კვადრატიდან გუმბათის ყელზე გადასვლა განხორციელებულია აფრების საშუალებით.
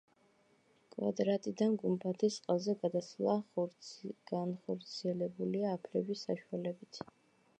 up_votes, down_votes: 1, 2